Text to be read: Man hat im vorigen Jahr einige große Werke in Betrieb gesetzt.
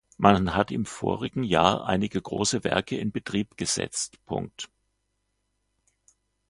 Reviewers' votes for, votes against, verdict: 1, 2, rejected